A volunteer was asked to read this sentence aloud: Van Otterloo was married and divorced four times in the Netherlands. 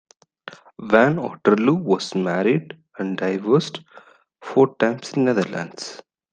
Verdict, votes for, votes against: accepted, 2, 1